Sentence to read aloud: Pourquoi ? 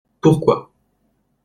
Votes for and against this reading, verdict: 2, 0, accepted